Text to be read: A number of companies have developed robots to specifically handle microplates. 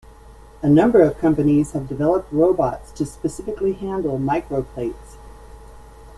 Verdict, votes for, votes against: accepted, 2, 0